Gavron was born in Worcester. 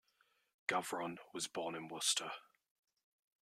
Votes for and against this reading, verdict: 2, 0, accepted